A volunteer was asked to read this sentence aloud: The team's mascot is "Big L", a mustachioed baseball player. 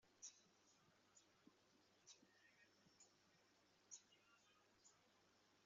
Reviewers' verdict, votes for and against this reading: rejected, 0, 2